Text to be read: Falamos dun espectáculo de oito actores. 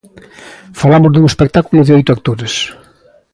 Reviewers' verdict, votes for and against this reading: accepted, 2, 0